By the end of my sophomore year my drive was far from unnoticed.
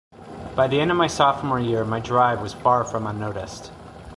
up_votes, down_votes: 3, 0